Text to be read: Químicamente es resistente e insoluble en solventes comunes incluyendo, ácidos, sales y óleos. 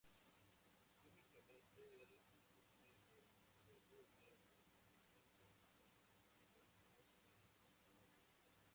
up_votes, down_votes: 0, 4